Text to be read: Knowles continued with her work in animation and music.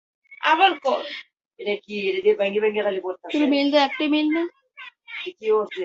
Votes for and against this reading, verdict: 0, 4, rejected